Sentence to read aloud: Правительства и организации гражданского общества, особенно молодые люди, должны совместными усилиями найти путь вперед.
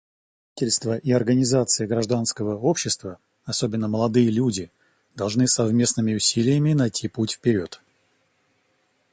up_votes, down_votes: 0, 2